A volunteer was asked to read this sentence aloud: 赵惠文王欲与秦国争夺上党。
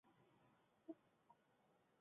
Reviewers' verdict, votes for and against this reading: rejected, 1, 5